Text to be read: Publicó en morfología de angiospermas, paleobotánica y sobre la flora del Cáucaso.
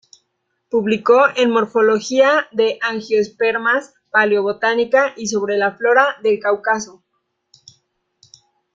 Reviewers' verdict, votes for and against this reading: rejected, 1, 2